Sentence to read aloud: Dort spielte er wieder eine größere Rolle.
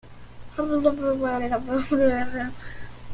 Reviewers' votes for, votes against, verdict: 0, 2, rejected